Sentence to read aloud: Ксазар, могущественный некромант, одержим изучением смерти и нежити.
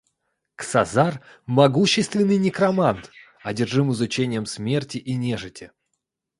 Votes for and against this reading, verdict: 2, 0, accepted